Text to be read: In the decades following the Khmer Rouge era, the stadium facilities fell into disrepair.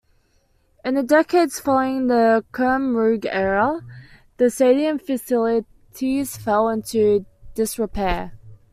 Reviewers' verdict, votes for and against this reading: rejected, 0, 2